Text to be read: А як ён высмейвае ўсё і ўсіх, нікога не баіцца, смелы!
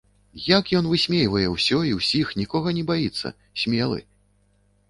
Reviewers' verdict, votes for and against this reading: rejected, 1, 2